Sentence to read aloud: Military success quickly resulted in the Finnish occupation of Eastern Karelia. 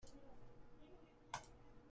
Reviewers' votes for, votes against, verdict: 0, 2, rejected